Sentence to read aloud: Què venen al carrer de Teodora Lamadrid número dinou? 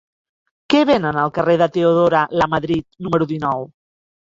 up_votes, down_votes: 3, 1